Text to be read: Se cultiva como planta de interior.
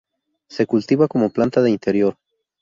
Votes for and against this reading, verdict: 2, 0, accepted